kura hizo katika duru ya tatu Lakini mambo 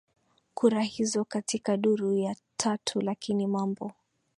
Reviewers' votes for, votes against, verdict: 2, 0, accepted